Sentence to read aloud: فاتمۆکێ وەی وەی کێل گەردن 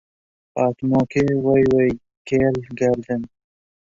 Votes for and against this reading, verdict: 0, 2, rejected